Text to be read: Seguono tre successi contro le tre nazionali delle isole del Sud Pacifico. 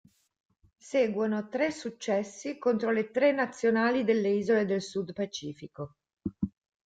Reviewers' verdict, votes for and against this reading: accepted, 2, 0